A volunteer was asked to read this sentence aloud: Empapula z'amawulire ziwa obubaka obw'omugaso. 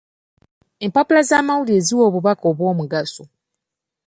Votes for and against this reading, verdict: 2, 0, accepted